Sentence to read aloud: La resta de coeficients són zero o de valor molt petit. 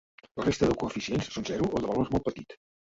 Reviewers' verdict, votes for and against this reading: rejected, 1, 2